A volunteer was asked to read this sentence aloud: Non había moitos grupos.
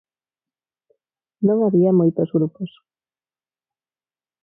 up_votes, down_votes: 0, 4